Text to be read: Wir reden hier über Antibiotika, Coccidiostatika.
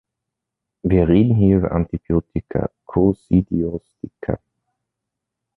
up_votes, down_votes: 0, 2